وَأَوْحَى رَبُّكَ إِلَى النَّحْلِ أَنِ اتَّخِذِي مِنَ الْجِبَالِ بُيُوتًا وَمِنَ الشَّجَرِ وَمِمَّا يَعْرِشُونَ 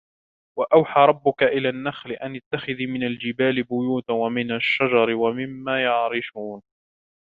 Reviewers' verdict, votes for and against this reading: rejected, 0, 2